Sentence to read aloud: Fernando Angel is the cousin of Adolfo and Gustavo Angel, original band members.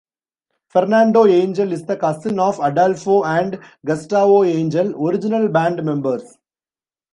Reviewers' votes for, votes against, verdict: 1, 2, rejected